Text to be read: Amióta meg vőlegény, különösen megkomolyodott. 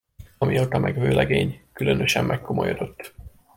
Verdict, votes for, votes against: accepted, 2, 0